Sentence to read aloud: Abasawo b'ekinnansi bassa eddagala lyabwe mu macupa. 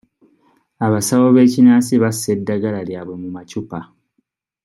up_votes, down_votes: 2, 0